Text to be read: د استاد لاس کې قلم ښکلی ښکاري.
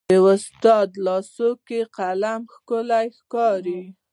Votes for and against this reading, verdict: 2, 0, accepted